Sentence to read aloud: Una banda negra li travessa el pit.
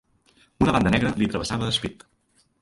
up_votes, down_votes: 0, 3